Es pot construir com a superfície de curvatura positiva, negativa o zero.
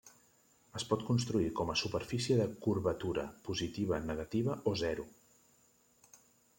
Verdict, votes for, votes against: accepted, 3, 1